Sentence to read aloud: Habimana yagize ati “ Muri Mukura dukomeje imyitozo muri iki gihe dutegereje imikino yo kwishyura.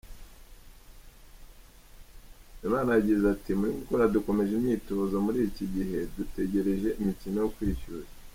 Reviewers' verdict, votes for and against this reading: rejected, 0, 2